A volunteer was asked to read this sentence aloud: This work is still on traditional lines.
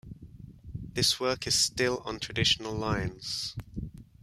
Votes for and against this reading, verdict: 1, 2, rejected